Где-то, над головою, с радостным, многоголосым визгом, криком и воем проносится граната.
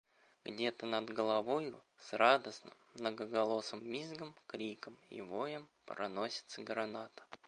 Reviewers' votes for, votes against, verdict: 0, 2, rejected